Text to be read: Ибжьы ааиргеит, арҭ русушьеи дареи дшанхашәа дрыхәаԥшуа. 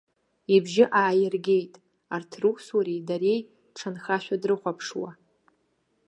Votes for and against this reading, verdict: 1, 2, rejected